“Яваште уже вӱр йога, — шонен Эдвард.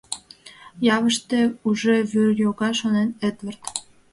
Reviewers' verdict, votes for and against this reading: rejected, 0, 2